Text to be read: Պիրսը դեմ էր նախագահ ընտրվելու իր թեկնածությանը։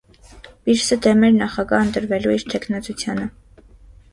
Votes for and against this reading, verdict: 1, 2, rejected